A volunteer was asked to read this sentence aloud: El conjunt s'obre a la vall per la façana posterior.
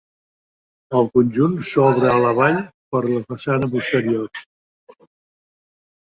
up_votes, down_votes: 0, 2